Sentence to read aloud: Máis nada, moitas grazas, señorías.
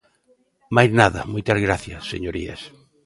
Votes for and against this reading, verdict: 1, 3, rejected